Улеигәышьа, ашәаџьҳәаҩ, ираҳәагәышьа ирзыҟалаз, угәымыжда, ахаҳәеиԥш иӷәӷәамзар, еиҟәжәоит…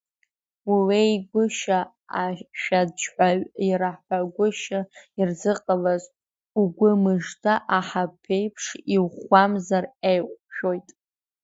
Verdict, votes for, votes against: rejected, 1, 2